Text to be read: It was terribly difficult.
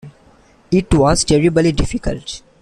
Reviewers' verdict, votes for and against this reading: accepted, 2, 0